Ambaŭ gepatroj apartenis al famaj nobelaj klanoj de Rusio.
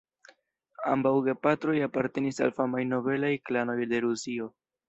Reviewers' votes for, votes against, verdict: 2, 0, accepted